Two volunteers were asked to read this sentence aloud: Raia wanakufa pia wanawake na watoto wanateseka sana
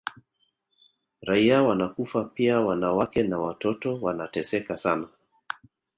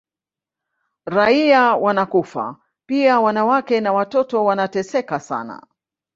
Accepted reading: first